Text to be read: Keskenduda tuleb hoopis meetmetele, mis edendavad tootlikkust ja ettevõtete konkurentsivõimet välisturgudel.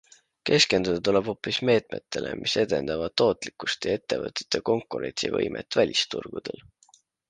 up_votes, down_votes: 2, 0